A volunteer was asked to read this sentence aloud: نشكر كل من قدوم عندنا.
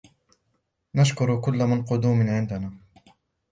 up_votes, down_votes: 0, 2